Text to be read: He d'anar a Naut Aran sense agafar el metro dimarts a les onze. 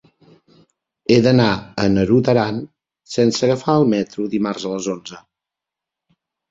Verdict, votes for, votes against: rejected, 1, 2